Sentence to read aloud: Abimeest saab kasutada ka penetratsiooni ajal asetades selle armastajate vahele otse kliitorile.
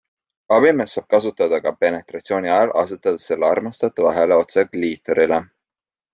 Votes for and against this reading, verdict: 2, 0, accepted